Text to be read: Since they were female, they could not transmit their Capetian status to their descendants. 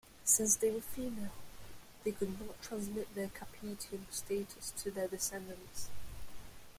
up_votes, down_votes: 1, 2